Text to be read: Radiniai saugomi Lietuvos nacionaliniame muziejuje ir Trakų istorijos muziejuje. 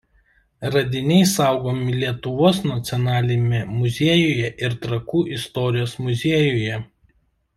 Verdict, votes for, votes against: rejected, 0, 2